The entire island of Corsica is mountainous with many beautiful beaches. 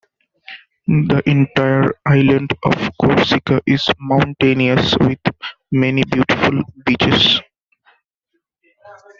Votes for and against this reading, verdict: 2, 1, accepted